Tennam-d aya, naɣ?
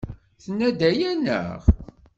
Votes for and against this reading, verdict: 1, 2, rejected